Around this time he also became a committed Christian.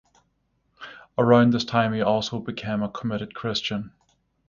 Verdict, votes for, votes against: accepted, 6, 0